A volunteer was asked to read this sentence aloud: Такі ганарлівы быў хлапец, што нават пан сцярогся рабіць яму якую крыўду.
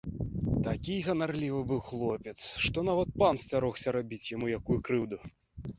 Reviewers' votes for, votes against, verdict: 1, 2, rejected